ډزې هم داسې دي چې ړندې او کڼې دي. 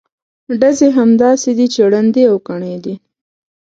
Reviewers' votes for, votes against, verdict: 2, 0, accepted